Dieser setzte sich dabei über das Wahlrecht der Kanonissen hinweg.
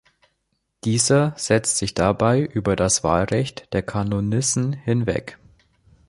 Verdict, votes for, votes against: rejected, 2, 3